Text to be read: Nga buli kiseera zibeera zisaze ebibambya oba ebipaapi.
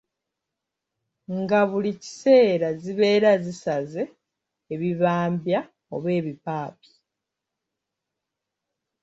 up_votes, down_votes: 0, 2